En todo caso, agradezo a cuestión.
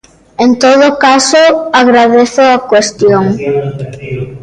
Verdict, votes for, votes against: accepted, 2, 0